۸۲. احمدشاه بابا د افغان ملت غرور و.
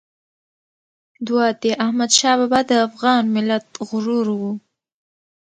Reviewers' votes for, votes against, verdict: 0, 2, rejected